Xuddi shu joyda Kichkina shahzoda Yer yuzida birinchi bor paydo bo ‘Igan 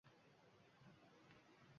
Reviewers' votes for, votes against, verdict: 1, 2, rejected